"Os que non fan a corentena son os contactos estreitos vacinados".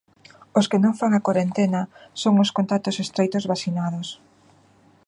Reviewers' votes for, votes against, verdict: 2, 1, accepted